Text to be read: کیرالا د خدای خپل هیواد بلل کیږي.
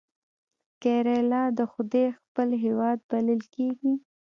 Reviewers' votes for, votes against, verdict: 2, 0, accepted